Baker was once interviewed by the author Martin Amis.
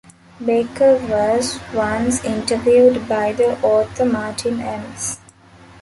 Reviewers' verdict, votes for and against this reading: accepted, 2, 1